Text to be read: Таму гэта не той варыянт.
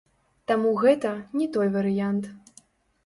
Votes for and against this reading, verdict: 0, 2, rejected